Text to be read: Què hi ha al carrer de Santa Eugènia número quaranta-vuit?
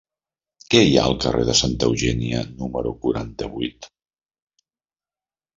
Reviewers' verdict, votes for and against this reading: accepted, 3, 0